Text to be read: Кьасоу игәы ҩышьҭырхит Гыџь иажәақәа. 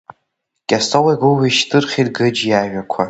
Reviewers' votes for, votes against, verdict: 2, 0, accepted